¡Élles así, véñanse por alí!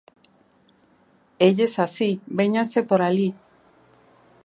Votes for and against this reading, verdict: 2, 0, accepted